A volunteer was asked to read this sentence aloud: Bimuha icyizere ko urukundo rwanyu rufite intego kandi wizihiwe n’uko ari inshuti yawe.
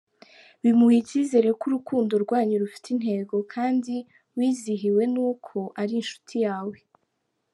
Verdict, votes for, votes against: accepted, 2, 0